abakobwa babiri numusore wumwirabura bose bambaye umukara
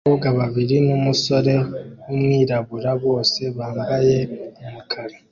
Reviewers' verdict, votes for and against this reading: accepted, 2, 0